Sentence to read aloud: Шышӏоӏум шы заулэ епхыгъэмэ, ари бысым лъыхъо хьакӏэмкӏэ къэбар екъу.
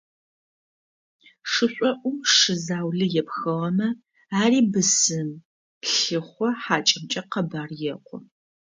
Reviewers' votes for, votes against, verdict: 2, 0, accepted